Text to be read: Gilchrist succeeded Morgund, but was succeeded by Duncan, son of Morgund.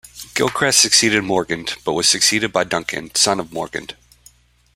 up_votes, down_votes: 2, 0